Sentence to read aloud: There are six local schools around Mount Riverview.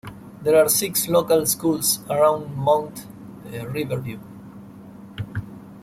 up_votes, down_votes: 2, 0